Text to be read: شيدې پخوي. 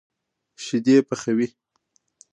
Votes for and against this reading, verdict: 2, 1, accepted